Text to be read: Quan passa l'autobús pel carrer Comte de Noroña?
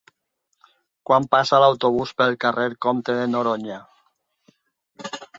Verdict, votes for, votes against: accepted, 4, 0